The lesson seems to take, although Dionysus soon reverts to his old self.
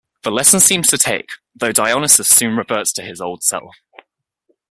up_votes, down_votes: 1, 2